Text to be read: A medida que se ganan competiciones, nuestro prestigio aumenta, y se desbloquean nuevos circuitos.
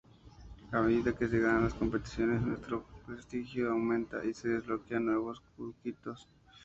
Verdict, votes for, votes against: rejected, 0, 2